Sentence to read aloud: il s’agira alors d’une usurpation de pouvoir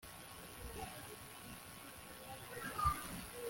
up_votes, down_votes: 0, 2